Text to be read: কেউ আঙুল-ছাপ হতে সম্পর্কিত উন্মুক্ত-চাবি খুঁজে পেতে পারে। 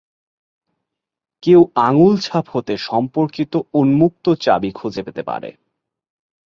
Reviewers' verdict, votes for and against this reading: accepted, 20, 0